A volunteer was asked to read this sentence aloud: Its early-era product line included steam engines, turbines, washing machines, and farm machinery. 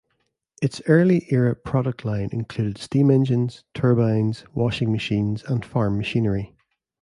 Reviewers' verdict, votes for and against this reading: accepted, 2, 1